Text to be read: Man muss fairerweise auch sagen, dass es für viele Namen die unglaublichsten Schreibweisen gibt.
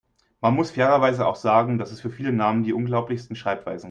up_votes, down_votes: 1, 2